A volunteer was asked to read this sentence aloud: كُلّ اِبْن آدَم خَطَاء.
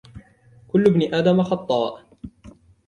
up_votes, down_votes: 2, 0